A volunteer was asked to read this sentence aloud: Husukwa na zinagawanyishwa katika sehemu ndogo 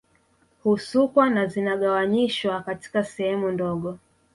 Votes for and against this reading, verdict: 1, 2, rejected